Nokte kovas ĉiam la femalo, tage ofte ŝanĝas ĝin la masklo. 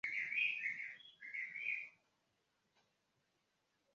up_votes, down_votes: 0, 2